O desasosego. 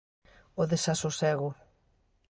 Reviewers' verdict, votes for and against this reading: accepted, 2, 0